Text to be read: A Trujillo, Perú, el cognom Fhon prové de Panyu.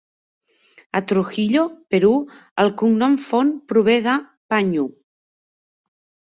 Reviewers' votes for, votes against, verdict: 2, 0, accepted